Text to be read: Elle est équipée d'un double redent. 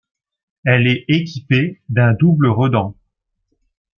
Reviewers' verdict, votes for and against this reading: accepted, 2, 0